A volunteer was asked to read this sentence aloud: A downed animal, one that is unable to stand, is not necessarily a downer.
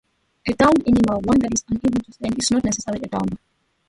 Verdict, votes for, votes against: accepted, 2, 0